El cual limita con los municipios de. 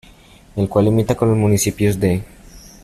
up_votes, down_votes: 2, 1